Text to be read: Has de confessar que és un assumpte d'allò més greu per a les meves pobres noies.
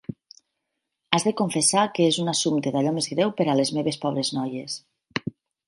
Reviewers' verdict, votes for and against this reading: accepted, 8, 0